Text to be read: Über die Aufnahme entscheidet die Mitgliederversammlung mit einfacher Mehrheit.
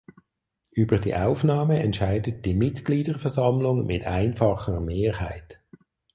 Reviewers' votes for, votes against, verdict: 4, 0, accepted